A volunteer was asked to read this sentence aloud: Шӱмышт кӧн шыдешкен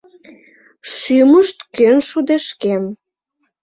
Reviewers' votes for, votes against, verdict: 1, 2, rejected